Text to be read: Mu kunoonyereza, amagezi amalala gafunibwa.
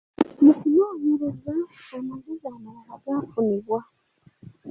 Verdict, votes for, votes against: rejected, 0, 2